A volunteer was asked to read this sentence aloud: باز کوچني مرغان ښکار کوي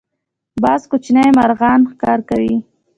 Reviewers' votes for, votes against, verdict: 2, 0, accepted